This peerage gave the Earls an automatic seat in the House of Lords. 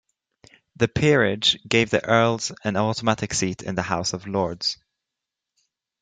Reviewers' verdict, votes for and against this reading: rejected, 1, 2